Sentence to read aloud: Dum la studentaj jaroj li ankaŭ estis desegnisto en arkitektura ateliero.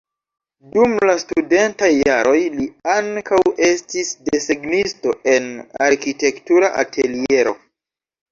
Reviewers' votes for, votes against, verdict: 2, 0, accepted